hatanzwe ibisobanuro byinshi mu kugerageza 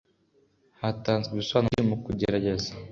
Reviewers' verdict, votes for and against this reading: accepted, 2, 0